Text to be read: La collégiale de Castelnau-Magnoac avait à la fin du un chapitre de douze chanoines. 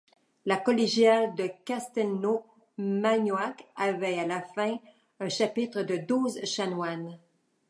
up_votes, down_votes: 1, 2